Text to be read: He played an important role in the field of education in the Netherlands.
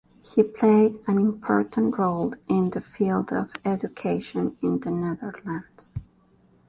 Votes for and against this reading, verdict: 3, 1, accepted